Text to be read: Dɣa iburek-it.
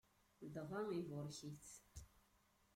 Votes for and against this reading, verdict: 1, 2, rejected